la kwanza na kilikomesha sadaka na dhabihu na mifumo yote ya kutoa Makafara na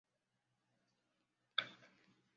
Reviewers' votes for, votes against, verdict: 0, 2, rejected